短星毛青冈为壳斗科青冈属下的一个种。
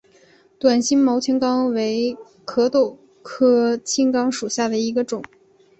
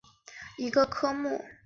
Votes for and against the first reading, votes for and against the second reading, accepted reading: 4, 1, 1, 2, first